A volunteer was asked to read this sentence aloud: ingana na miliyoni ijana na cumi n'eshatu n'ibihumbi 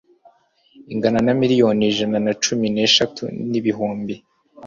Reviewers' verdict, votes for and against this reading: accepted, 2, 0